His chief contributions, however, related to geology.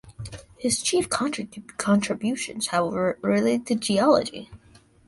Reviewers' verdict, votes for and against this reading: rejected, 0, 2